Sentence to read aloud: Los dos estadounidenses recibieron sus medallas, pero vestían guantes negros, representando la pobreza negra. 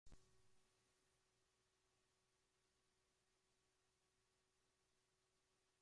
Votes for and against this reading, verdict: 0, 2, rejected